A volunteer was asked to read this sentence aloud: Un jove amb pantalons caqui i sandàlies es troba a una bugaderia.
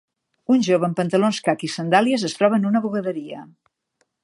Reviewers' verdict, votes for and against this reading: rejected, 0, 2